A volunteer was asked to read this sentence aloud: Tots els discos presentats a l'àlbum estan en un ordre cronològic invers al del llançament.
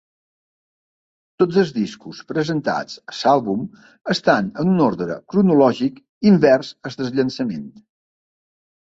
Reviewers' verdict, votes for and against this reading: rejected, 0, 3